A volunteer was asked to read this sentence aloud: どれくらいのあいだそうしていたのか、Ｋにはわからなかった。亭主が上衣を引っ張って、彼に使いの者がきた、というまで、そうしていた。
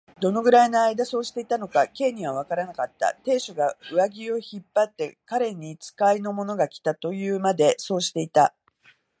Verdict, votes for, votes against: rejected, 0, 2